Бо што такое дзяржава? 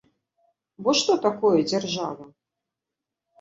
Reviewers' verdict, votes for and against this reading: accepted, 2, 0